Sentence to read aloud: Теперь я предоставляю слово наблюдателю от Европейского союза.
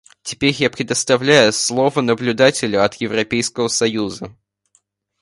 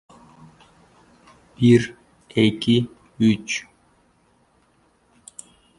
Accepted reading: first